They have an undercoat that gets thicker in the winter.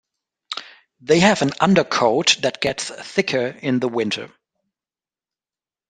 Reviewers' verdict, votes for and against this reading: accepted, 2, 0